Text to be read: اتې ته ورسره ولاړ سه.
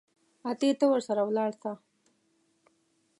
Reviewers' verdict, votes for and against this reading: rejected, 1, 2